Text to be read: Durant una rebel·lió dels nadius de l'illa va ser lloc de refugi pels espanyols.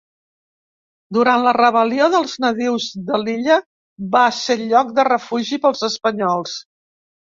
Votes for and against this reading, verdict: 0, 2, rejected